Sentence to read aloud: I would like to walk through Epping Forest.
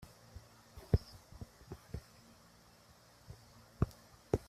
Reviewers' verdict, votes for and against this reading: rejected, 0, 2